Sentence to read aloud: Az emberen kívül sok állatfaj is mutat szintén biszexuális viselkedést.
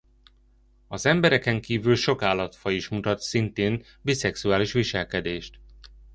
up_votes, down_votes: 0, 2